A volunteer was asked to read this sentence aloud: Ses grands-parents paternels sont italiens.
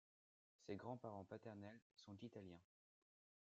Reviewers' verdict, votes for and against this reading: accepted, 2, 0